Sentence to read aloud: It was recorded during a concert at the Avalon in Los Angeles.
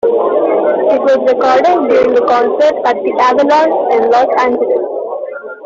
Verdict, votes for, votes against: rejected, 0, 2